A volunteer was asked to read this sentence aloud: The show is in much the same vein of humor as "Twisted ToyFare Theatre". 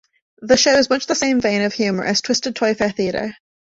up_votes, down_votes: 1, 2